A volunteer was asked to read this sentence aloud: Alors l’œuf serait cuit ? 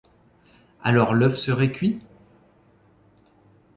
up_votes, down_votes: 2, 0